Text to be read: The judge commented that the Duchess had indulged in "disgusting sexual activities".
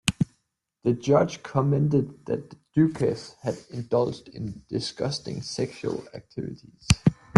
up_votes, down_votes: 0, 2